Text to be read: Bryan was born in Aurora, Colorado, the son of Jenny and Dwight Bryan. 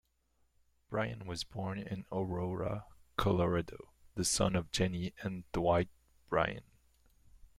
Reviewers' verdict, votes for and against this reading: rejected, 0, 2